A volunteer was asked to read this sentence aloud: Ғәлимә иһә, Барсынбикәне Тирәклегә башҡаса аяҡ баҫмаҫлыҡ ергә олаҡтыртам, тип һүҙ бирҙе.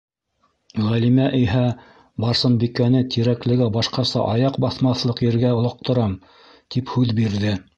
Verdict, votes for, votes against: rejected, 1, 2